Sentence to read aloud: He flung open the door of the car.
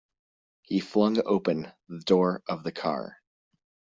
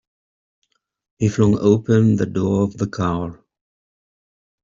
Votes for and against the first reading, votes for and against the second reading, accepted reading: 2, 0, 1, 2, first